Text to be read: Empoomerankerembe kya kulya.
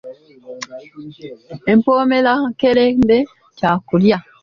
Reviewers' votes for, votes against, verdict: 2, 0, accepted